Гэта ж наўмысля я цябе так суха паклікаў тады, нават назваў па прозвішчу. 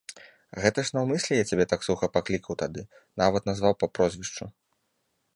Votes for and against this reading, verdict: 2, 0, accepted